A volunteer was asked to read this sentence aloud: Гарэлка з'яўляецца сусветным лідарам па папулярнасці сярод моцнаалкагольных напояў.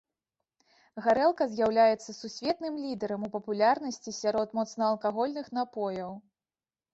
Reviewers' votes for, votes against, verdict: 1, 2, rejected